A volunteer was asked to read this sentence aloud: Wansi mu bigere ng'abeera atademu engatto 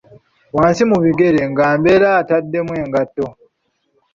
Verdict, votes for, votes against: rejected, 1, 2